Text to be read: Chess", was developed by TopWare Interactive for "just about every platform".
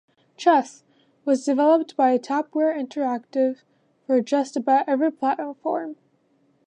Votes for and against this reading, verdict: 2, 0, accepted